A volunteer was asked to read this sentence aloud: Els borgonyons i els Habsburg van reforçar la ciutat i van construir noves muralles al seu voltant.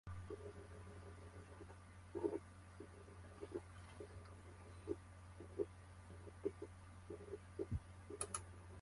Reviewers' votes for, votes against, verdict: 0, 2, rejected